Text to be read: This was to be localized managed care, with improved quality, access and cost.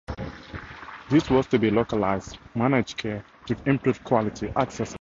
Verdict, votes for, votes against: rejected, 0, 4